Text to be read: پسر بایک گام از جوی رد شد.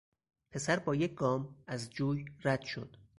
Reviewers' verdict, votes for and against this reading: accepted, 4, 0